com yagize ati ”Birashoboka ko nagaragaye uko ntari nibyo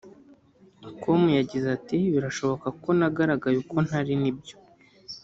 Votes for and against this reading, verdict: 2, 0, accepted